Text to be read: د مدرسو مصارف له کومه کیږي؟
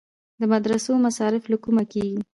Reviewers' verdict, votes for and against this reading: accepted, 2, 0